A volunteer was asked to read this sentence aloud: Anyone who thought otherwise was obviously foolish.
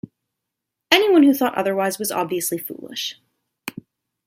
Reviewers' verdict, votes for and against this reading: rejected, 1, 2